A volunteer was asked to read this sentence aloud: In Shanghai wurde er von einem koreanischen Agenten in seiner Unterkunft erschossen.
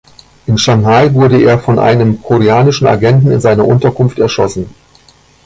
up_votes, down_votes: 2, 0